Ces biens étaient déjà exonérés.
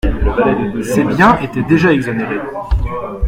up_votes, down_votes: 1, 2